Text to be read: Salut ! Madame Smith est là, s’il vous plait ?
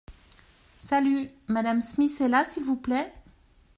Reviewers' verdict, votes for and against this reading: accepted, 2, 0